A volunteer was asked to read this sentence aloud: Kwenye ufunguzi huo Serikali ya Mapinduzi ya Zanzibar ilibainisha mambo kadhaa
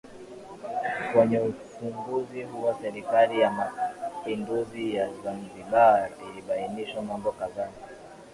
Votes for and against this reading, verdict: 3, 2, accepted